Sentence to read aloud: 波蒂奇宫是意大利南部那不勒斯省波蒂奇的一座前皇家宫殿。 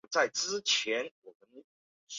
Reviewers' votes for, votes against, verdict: 3, 1, accepted